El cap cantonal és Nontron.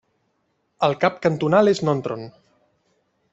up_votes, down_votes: 1, 2